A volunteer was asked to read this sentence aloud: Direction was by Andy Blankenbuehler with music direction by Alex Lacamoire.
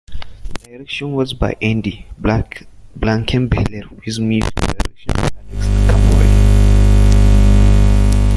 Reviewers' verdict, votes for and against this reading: rejected, 0, 2